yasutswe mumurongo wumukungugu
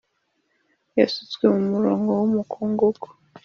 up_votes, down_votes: 2, 0